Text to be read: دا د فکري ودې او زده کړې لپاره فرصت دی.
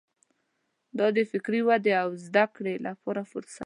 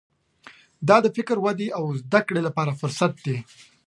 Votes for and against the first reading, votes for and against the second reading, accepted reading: 1, 2, 2, 0, second